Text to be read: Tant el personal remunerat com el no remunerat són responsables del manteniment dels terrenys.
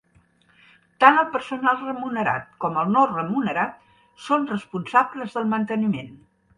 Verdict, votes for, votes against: rejected, 0, 2